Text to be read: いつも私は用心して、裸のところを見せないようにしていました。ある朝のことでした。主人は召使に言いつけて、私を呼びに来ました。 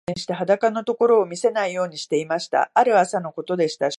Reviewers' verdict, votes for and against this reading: rejected, 1, 2